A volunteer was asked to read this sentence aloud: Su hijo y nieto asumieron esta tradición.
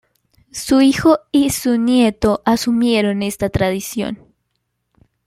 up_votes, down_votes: 0, 2